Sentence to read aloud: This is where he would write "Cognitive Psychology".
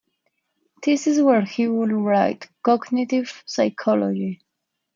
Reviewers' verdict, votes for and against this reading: accepted, 2, 1